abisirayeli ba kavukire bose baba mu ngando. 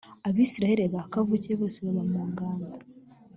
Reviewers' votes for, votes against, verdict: 3, 0, accepted